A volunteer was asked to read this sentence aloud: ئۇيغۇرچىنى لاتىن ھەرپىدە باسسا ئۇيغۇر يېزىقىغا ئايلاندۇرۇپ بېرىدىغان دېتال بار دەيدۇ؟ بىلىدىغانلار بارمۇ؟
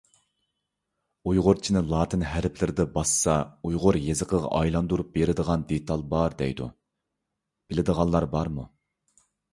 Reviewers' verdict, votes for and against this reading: rejected, 1, 2